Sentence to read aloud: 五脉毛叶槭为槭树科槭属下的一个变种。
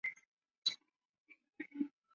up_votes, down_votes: 1, 8